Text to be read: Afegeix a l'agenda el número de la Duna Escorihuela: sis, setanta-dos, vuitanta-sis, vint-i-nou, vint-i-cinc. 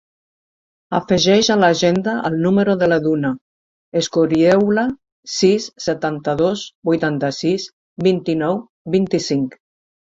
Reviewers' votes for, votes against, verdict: 0, 2, rejected